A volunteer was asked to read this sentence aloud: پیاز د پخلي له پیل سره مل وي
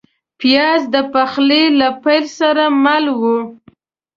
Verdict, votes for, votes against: rejected, 0, 2